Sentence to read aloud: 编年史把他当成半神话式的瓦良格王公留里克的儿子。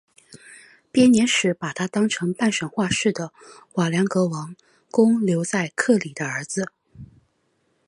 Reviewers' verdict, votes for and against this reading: accepted, 3, 0